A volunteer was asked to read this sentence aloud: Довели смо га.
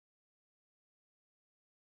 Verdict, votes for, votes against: rejected, 0, 2